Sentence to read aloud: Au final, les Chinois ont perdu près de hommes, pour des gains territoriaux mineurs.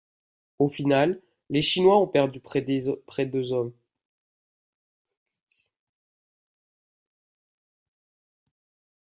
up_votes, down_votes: 0, 2